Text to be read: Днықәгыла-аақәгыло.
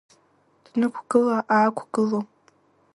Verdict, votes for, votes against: accepted, 2, 1